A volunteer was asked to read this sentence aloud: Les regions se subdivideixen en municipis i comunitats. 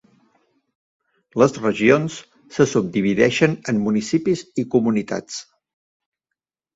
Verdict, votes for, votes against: accepted, 2, 0